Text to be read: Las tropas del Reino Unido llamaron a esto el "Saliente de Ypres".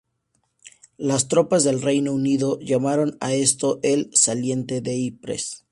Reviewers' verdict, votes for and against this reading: accepted, 4, 0